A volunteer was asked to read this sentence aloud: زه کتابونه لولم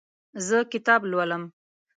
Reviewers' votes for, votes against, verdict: 0, 2, rejected